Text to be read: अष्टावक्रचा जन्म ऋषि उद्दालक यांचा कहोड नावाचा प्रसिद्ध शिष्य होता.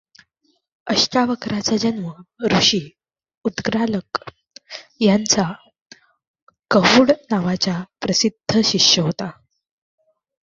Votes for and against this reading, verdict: 1, 2, rejected